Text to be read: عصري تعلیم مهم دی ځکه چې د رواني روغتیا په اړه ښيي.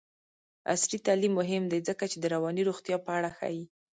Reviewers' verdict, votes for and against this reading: rejected, 1, 2